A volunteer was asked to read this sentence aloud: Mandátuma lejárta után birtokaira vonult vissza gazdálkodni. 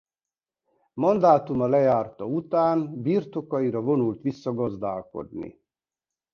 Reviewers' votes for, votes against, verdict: 2, 1, accepted